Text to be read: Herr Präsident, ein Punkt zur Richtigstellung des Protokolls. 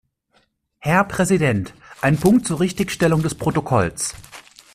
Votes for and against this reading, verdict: 2, 0, accepted